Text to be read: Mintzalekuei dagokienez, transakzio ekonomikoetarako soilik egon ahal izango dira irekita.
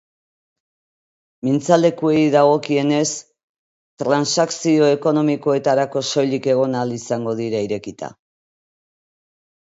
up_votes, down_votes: 2, 0